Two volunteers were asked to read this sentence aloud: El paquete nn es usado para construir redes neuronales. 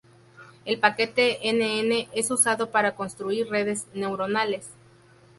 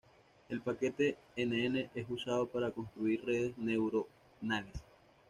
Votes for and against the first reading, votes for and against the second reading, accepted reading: 2, 0, 1, 2, first